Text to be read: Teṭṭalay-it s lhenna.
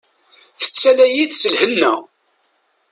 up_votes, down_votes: 1, 2